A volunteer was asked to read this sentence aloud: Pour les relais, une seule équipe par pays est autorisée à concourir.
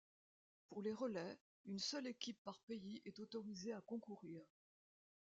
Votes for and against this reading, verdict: 1, 2, rejected